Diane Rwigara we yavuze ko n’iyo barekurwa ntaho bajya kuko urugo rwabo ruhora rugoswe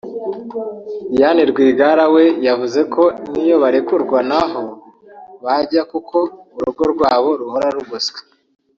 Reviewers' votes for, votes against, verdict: 0, 2, rejected